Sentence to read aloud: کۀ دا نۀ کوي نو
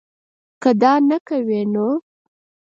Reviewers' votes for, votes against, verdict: 2, 4, rejected